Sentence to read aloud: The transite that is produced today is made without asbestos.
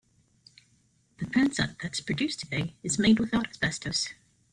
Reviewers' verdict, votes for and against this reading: accepted, 2, 0